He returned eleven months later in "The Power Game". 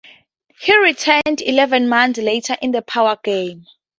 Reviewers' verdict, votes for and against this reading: accepted, 2, 0